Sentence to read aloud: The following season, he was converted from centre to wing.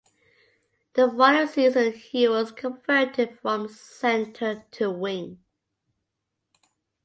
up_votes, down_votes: 2, 1